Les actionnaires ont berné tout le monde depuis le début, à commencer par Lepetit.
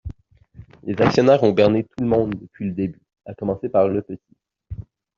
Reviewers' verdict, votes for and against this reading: rejected, 0, 2